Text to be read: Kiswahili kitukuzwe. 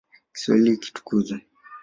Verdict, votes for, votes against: accepted, 2, 0